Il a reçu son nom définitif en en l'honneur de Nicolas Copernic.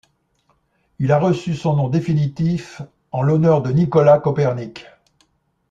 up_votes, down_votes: 2, 0